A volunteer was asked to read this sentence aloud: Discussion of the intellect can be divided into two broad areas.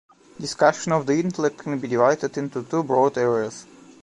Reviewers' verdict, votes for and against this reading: rejected, 0, 2